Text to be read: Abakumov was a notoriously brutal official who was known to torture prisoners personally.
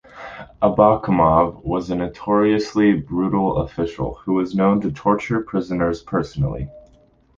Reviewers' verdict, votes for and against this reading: accepted, 2, 0